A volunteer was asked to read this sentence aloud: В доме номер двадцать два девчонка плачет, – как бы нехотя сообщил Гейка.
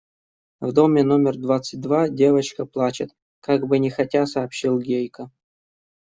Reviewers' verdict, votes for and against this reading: rejected, 1, 2